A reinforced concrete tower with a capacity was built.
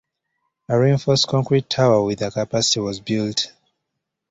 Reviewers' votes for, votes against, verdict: 2, 0, accepted